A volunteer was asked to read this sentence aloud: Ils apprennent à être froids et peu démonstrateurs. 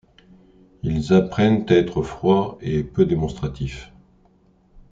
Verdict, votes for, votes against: rejected, 1, 2